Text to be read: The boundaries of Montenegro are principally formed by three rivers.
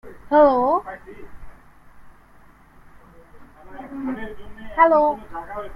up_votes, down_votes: 0, 2